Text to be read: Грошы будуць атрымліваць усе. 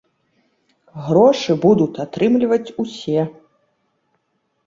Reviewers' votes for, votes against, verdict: 0, 2, rejected